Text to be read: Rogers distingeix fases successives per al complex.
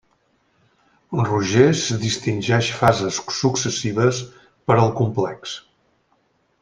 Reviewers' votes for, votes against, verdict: 1, 2, rejected